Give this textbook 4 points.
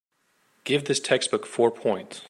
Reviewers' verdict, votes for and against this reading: rejected, 0, 2